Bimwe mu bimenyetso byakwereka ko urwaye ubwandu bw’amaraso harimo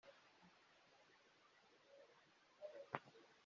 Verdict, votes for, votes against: rejected, 1, 3